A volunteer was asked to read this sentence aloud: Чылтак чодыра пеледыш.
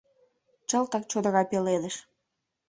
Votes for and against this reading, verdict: 2, 0, accepted